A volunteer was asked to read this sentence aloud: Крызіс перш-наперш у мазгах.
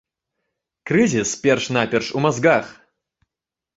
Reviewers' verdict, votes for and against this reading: accepted, 2, 1